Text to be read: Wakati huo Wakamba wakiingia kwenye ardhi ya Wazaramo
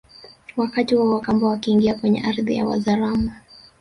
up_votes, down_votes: 2, 1